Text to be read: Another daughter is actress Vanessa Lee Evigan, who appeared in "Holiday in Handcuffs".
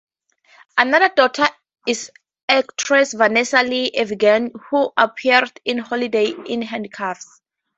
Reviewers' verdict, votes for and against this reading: accepted, 2, 0